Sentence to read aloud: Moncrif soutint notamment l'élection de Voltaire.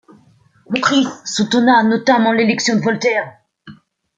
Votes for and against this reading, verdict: 0, 2, rejected